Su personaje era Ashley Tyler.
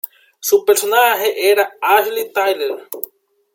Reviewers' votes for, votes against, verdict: 2, 0, accepted